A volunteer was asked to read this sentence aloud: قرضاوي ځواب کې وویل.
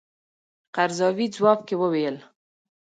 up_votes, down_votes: 2, 0